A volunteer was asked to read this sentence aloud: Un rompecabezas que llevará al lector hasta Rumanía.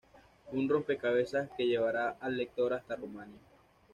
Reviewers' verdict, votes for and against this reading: accepted, 2, 0